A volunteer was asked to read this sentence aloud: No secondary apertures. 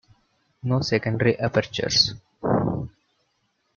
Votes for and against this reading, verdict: 2, 1, accepted